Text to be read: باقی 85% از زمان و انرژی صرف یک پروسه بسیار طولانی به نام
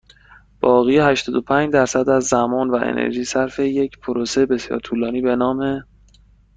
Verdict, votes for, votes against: rejected, 0, 2